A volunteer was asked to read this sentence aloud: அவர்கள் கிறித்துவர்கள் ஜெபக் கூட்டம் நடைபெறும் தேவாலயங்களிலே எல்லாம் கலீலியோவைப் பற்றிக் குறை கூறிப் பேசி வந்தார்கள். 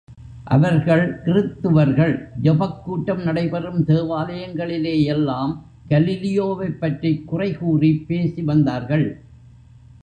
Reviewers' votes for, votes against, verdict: 2, 0, accepted